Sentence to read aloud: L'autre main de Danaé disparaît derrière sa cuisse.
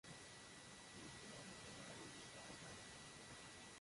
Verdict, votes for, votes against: rejected, 0, 2